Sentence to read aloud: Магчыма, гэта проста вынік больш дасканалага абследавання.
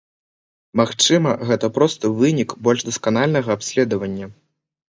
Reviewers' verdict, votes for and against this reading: rejected, 1, 2